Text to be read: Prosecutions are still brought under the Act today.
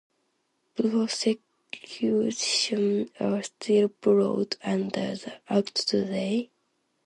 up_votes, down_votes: 0, 2